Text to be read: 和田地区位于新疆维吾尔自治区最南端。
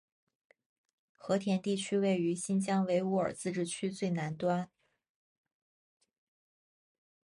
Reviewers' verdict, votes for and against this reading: accepted, 2, 0